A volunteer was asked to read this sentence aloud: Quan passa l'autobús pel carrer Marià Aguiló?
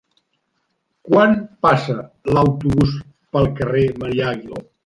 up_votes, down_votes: 2, 0